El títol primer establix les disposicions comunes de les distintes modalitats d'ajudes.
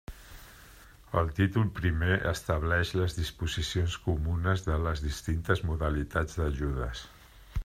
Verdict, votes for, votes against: rejected, 0, 2